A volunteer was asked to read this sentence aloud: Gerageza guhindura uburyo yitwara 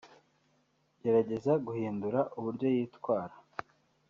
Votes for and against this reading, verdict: 0, 2, rejected